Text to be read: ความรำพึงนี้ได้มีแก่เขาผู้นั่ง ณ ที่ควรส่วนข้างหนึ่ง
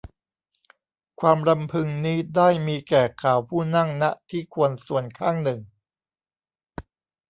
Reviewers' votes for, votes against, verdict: 0, 2, rejected